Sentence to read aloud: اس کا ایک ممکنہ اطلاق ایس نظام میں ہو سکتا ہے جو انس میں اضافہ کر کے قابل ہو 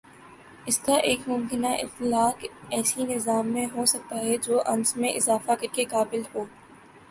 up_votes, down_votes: 4, 2